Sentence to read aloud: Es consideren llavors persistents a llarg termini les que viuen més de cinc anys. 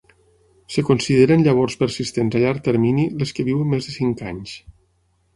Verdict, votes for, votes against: rejected, 3, 6